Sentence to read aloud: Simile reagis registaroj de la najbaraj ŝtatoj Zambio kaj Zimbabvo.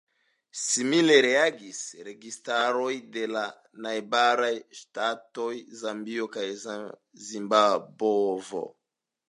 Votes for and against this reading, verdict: 1, 2, rejected